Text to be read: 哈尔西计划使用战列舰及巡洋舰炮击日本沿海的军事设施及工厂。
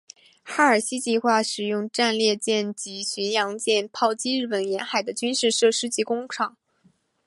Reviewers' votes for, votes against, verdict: 2, 0, accepted